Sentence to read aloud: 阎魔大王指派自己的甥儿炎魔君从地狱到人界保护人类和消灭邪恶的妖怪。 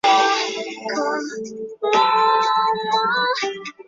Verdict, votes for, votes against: rejected, 0, 4